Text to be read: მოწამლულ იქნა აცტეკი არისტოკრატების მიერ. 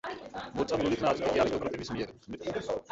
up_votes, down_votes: 0, 2